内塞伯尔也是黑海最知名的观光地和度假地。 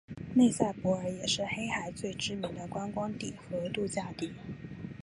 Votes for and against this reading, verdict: 3, 1, accepted